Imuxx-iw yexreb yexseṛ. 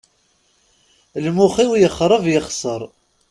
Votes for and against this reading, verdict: 2, 0, accepted